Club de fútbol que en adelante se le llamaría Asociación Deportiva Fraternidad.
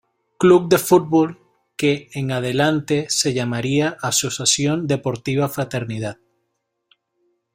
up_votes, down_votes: 1, 2